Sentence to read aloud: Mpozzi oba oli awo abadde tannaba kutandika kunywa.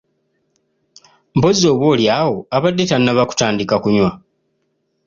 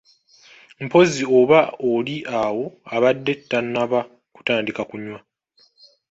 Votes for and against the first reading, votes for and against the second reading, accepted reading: 2, 0, 0, 2, first